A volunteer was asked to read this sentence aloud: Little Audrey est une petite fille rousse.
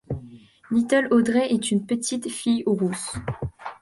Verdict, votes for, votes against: accepted, 2, 0